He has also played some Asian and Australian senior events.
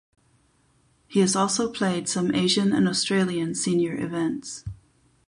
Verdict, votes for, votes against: accepted, 8, 0